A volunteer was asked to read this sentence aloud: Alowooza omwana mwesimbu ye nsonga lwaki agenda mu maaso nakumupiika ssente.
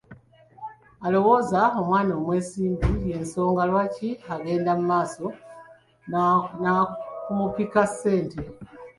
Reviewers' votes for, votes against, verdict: 0, 2, rejected